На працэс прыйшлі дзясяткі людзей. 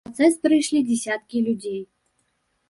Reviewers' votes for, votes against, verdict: 2, 3, rejected